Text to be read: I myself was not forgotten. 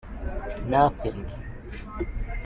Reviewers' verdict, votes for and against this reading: rejected, 0, 2